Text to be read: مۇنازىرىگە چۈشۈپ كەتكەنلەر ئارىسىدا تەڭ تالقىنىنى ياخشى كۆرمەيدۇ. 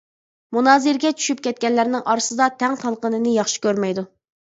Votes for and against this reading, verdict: 0, 2, rejected